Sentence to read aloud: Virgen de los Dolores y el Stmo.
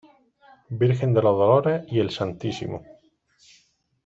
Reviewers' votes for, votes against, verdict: 2, 0, accepted